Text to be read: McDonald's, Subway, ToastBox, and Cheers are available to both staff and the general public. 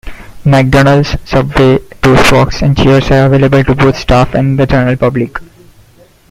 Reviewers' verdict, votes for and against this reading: accepted, 2, 1